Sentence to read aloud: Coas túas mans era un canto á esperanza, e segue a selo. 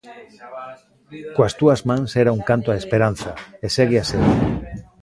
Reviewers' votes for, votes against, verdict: 1, 2, rejected